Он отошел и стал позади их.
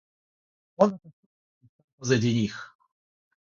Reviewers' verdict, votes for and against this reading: rejected, 0, 3